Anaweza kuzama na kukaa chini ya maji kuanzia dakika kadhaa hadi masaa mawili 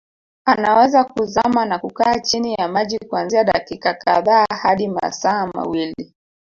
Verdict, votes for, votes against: accepted, 2, 1